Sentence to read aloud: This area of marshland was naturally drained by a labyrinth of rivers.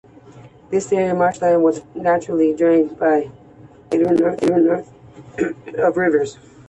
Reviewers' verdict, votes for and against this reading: accepted, 2, 0